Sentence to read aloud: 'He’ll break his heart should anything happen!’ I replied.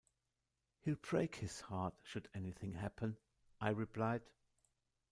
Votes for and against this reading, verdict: 0, 2, rejected